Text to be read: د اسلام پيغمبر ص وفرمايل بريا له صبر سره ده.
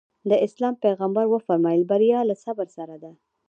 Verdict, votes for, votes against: rejected, 1, 2